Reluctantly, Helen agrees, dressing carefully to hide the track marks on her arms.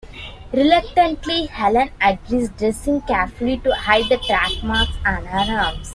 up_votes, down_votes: 0, 2